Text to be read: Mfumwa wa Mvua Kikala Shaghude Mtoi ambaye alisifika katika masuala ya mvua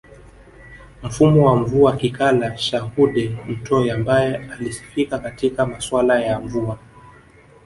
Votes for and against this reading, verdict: 2, 0, accepted